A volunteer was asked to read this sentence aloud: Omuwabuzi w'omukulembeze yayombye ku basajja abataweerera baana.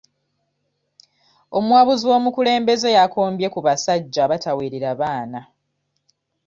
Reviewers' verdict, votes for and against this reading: rejected, 0, 2